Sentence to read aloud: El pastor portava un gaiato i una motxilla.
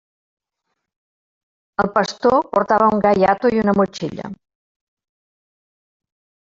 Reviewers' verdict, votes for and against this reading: rejected, 1, 2